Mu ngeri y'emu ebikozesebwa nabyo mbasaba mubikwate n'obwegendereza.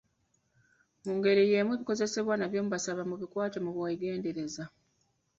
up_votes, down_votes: 1, 2